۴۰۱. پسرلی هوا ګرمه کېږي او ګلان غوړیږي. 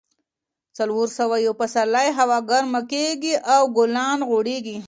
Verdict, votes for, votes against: rejected, 0, 2